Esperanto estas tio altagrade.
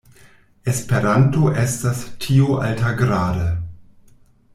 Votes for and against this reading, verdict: 2, 0, accepted